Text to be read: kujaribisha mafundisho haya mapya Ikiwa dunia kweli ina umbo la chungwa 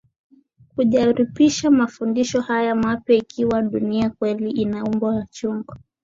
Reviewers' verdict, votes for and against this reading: accepted, 2, 0